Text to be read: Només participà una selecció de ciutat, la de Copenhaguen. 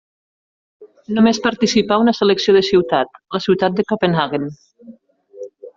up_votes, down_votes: 0, 2